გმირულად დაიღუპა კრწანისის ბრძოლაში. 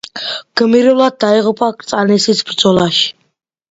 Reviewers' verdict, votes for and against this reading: accepted, 2, 0